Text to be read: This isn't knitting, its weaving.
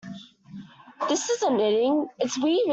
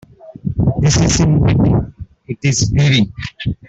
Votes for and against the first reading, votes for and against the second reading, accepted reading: 2, 1, 0, 2, first